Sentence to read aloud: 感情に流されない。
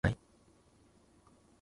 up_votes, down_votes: 0, 2